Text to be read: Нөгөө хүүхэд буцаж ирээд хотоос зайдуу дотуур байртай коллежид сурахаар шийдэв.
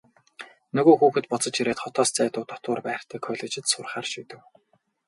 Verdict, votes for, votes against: rejected, 0, 2